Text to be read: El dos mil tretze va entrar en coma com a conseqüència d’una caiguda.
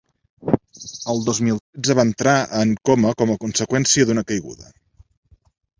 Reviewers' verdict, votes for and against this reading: rejected, 1, 2